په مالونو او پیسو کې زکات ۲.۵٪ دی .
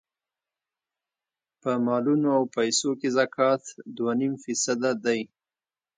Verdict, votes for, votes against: rejected, 0, 2